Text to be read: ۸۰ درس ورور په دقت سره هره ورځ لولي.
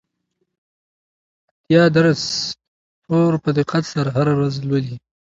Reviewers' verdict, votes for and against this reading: rejected, 0, 2